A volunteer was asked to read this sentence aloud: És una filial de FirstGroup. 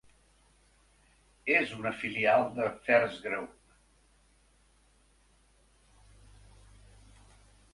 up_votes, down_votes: 2, 0